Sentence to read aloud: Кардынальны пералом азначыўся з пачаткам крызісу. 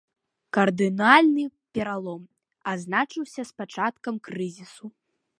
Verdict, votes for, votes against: accepted, 2, 0